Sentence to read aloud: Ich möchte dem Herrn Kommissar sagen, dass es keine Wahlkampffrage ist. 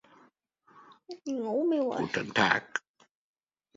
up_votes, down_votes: 0, 2